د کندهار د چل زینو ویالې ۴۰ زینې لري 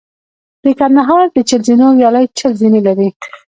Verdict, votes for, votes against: rejected, 0, 2